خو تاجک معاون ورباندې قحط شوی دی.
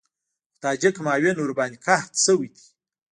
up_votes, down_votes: 0, 2